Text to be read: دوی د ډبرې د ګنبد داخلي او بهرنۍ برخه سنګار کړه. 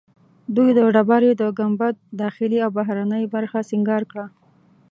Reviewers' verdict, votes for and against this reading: accepted, 3, 0